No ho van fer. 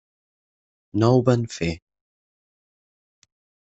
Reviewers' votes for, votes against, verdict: 8, 0, accepted